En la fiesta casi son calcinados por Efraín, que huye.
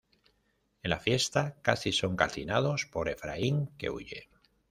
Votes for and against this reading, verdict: 2, 0, accepted